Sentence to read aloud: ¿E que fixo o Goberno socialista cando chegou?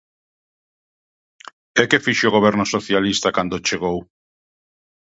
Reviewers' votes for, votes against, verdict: 2, 0, accepted